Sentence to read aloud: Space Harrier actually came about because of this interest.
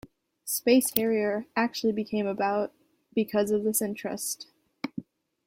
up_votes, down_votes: 0, 2